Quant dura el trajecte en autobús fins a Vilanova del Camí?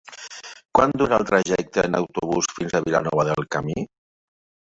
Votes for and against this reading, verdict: 1, 2, rejected